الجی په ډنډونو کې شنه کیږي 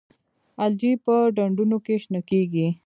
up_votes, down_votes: 2, 0